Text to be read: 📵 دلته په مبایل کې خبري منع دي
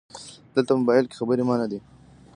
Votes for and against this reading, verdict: 1, 2, rejected